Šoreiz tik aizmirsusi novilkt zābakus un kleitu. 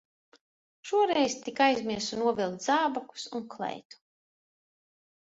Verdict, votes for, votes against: rejected, 1, 2